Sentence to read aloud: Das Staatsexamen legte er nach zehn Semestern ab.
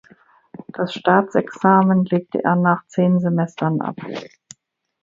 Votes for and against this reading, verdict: 2, 0, accepted